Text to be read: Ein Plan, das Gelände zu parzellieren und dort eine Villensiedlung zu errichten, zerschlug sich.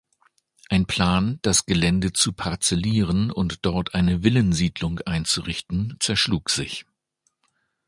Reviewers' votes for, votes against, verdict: 1, 2, rejected